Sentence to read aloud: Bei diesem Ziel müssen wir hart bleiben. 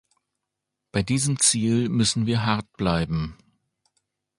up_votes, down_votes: 2, 0